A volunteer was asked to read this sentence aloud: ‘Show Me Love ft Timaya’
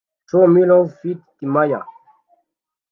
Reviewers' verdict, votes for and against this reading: rejected, 0, 2